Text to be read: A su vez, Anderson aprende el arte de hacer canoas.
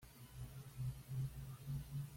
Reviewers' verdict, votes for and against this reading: rejected, 1, 2